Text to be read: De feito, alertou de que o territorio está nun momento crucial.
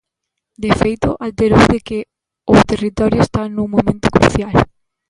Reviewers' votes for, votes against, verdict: 0, 2, rejected